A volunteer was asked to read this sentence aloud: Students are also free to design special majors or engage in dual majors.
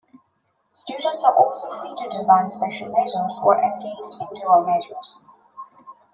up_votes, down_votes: 0, 2